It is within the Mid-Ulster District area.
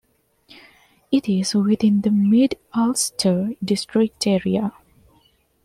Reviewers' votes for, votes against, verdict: 2, 0, accepted